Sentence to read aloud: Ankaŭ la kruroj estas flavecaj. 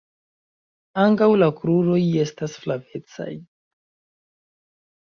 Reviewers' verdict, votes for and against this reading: rejected, 0, 2